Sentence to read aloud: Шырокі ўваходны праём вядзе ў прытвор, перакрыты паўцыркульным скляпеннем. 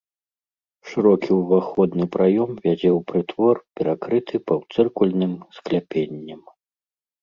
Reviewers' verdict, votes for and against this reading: accepted, 2, 0